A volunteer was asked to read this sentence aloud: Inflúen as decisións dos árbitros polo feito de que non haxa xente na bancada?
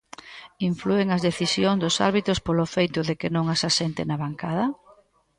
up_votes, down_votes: 1, 2